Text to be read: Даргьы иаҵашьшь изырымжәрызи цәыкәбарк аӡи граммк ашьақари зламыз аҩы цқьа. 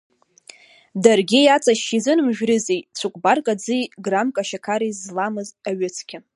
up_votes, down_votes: 0, 2